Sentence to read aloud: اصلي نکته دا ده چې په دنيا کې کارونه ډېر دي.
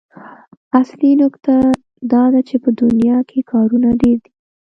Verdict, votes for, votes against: accepted, 2, 1